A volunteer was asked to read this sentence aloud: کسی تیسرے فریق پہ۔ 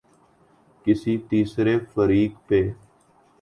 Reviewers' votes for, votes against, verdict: 2, 0, accepted